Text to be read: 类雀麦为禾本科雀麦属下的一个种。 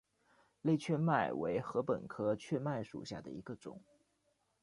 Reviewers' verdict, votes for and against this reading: accepted, 2, 1